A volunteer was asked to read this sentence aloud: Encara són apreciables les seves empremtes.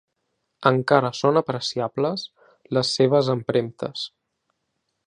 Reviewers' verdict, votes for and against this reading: accepted, 2, 0